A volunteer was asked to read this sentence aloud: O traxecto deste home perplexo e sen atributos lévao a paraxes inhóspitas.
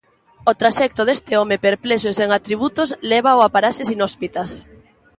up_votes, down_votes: 2, 0